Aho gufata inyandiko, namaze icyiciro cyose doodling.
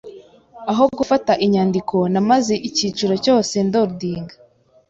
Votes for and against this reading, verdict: 3, 0, accepted